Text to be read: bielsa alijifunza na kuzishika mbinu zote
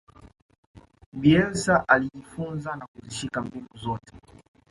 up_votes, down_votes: 2, 0